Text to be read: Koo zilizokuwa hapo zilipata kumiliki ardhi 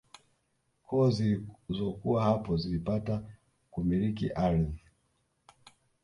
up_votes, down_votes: 1, 2